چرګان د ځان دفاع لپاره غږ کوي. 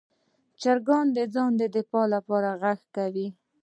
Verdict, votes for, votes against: rejected, 1, 2